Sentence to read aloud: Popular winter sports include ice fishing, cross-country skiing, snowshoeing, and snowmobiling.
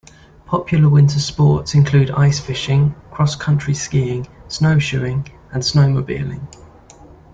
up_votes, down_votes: 2, 0